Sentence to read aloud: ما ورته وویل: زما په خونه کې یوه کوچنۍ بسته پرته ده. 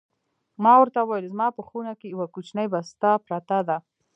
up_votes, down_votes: 2, 0